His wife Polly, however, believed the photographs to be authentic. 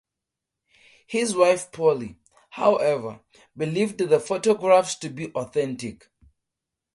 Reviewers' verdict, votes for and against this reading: accepted, 2, 0